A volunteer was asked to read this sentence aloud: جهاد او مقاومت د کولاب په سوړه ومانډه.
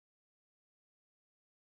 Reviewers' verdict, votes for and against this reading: rejected, 0, 4